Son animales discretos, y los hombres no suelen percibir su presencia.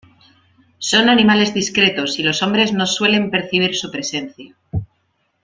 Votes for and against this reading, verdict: 2, 0, accepted